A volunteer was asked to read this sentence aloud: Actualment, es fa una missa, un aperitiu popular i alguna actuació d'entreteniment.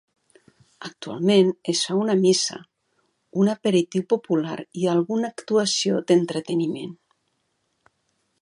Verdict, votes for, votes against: accepted, 2, 0